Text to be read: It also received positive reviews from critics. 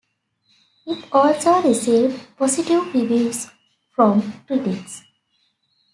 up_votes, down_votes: 2, 1